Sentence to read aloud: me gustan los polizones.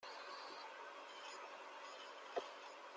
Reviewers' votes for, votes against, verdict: 0, 2, rejected